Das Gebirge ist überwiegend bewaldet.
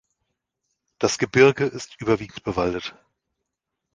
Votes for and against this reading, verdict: 2, 0, accepted